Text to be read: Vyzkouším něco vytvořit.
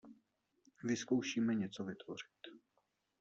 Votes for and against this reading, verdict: 0, 2, rejected